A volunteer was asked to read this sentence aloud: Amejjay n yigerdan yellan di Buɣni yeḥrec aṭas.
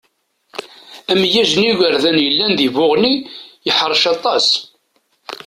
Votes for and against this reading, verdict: 1, 2, rejected